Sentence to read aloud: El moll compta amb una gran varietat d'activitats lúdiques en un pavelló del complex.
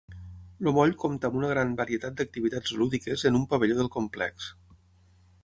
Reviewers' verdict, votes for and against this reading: rejected, 0, 6